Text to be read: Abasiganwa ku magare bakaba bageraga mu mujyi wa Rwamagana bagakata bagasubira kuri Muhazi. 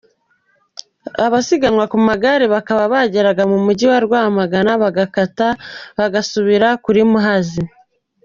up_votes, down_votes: 2, 1